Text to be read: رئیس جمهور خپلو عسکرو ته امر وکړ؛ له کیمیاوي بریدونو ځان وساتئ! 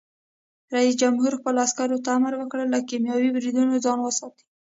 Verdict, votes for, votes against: rejected, 1, 2